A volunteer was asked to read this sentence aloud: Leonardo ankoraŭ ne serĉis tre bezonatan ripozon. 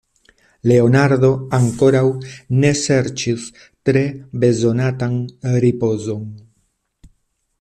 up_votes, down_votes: 2, 0